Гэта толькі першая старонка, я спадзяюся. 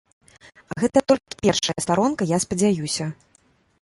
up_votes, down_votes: 0, 2